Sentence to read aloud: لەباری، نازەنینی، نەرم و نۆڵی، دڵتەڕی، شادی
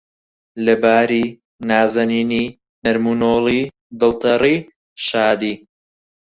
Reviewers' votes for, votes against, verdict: 0, 4, rejected